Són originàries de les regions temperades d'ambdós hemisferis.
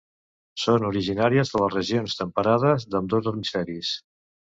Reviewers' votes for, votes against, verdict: 2, 0, accepted